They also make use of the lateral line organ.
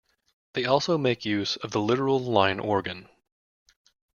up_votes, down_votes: 0, 2